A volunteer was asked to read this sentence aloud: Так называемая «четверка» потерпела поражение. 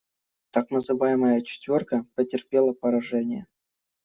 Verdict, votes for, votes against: accepted, 2, 0